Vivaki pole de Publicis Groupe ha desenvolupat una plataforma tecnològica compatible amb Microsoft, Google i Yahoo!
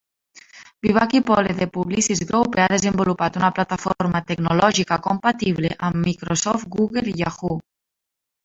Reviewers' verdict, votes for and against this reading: accepted, 2, 1